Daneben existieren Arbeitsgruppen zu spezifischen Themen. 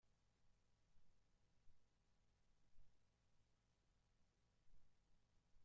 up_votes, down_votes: 0, 2